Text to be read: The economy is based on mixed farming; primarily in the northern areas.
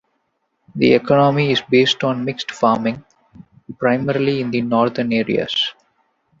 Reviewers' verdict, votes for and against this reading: rejected, 0, 2